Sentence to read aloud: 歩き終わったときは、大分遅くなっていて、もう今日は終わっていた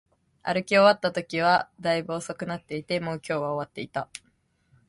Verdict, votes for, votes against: accepted, 2, 0